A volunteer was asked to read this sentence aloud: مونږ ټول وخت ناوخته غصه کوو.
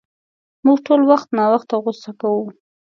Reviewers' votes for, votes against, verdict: 2, 0, accepted